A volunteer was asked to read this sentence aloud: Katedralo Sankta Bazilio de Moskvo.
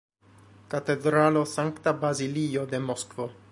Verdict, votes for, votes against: rejected, 1, 2